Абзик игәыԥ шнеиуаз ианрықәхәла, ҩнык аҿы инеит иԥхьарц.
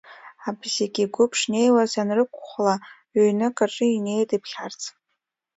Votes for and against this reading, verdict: 2, 0, accepted